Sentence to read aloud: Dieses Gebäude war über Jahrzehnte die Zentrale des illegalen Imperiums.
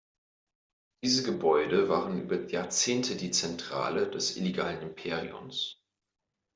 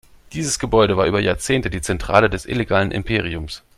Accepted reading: second